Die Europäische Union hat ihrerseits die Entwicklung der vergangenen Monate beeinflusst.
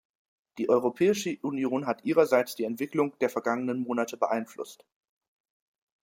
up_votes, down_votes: 4, 0